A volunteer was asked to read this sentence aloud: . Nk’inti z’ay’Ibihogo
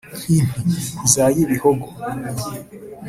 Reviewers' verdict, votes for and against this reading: rejected, 0, 2